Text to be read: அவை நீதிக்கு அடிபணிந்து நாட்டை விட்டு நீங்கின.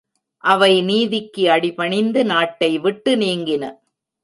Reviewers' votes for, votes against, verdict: 2, 0, accepted